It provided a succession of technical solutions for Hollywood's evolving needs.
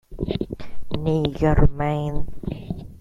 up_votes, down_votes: 0, 2